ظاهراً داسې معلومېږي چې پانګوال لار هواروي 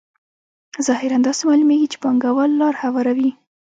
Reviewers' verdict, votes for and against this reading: accepted, 2, 0